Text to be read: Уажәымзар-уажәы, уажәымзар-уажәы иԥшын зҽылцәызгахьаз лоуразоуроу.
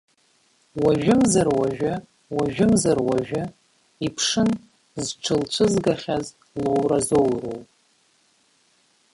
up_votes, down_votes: 1, 2